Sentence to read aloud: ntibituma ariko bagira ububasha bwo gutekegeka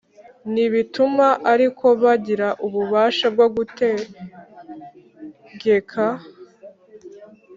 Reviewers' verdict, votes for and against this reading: accepted, 2, 0